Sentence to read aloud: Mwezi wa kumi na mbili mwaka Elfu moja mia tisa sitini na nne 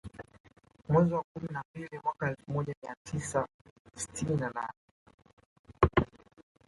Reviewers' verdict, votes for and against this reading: rejected, 3, 4